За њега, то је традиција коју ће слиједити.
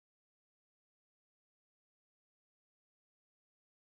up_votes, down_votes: 0, 2